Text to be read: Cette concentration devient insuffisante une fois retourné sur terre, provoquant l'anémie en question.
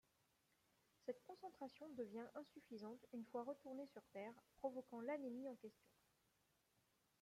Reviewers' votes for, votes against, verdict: 2, 0, accepted